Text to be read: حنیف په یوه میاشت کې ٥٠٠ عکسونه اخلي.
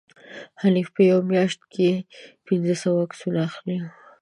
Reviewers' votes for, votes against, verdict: 0, 2, rejected